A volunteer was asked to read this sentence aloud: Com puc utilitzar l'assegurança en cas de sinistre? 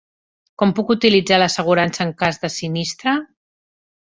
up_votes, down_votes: 3, 0